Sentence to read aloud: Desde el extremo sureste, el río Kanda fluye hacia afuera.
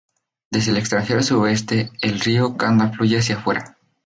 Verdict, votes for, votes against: rejected, 0, 2